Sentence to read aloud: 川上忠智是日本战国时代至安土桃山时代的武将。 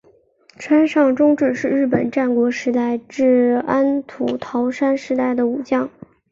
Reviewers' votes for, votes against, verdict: 3, 0, accepted